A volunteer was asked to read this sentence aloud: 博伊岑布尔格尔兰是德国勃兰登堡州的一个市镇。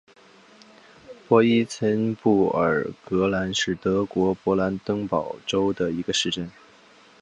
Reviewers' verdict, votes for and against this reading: accepted, 2, 0